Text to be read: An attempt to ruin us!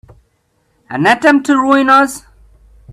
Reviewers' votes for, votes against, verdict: 0, 2, rejected